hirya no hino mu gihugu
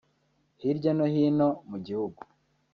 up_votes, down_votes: 0, 2